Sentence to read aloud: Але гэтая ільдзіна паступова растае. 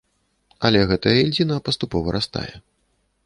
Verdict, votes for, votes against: rejected, 1, 2